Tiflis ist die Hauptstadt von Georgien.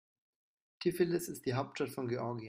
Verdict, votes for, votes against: rejected, 1, 2